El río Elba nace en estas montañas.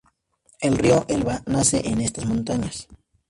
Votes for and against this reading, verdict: 2, 0, accepted